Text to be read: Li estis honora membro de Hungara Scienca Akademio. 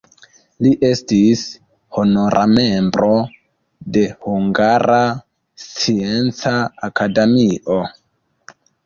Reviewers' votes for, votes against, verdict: 0, 2, rejected